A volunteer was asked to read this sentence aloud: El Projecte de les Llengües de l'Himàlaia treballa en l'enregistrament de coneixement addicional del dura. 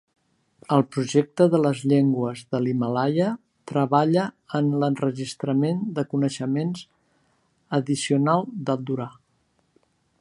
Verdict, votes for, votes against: rejected, 0, 2